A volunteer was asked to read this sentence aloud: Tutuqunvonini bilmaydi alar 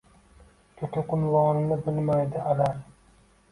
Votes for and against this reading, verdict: 2, 0, accepted